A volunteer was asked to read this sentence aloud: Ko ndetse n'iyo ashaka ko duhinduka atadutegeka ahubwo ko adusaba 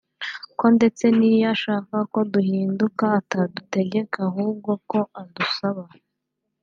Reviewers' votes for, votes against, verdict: 0, 2, rejected